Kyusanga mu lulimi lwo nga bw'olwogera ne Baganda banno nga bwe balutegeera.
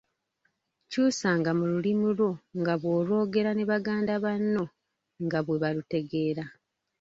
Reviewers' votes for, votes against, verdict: 1, 2, rejected